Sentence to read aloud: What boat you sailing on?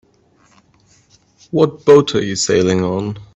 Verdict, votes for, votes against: rejected, 1, 2